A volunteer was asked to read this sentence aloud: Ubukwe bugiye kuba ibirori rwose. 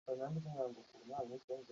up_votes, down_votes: 0, 2